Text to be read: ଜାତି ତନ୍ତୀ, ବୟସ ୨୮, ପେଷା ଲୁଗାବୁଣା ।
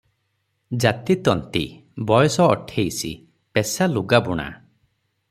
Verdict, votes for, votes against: rejected, 0, 2